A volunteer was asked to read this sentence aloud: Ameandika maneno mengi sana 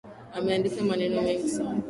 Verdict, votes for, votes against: accepted, 2, 0